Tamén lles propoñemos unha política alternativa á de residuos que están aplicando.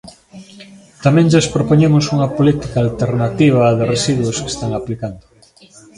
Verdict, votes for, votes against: accepted, 2, 0